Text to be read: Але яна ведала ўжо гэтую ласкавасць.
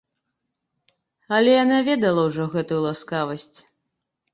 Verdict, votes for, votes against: accepted, 3, 0